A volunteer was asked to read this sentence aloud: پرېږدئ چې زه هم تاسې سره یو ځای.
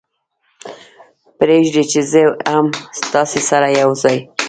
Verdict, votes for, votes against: rejected, 1, 2